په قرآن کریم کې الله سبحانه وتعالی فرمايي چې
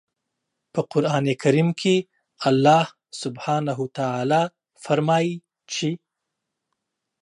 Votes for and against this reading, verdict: 2, 0, accepted